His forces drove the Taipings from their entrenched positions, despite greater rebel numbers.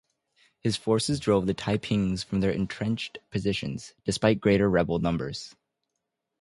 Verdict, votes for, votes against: accepted, 2, 0